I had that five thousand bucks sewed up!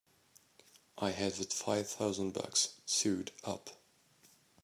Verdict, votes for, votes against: accepted, 2, 0